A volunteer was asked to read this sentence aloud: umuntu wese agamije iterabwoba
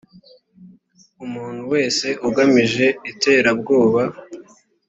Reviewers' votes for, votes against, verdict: 2, 1, accepted